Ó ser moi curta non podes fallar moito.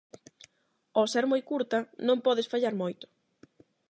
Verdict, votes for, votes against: accepted, 8, 0